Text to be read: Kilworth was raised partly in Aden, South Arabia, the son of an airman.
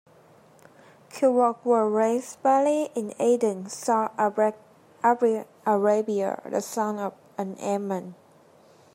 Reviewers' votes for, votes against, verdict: 0, 2, rejected